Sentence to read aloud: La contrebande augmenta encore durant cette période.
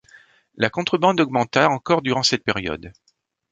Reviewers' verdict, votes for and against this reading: accepted, 2, 0